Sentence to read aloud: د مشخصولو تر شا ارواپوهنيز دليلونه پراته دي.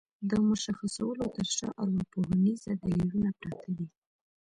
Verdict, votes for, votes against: accepted, 2, 0